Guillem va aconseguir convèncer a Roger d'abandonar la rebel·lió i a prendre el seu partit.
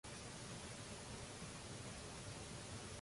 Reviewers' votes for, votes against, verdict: 0, 2, rejected